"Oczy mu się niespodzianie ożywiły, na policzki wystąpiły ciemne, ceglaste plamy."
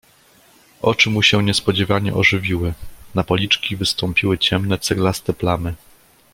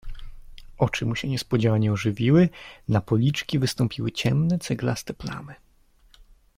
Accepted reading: second